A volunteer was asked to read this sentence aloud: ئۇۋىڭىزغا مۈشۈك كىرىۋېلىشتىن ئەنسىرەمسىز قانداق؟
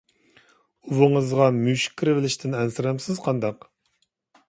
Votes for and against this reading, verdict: 2, 0, accepted